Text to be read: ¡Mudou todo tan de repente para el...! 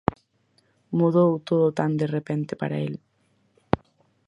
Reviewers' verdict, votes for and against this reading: accepted, 4, 0